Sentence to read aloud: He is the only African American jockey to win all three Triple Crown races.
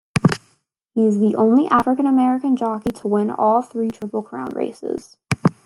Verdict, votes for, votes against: accepted, 2, 1